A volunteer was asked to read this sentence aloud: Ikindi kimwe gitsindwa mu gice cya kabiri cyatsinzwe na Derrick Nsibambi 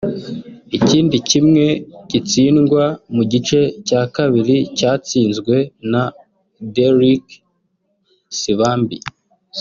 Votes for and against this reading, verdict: 2, 0, accepted